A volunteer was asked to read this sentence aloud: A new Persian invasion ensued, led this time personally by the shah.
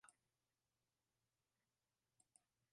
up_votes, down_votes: 0, 2